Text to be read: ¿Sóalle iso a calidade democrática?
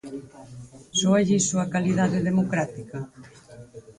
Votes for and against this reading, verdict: 4, 0, accepted